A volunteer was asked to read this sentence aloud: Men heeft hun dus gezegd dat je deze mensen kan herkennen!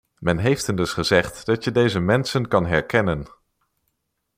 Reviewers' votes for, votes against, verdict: 2, 0, accepted